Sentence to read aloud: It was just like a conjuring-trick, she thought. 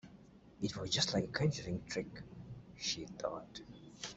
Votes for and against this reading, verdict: 2, 1, accepted